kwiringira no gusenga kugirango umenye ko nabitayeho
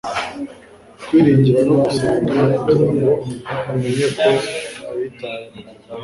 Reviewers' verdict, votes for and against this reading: rejected, 1, 2